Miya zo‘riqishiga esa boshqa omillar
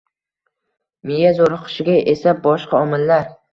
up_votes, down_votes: 2, 0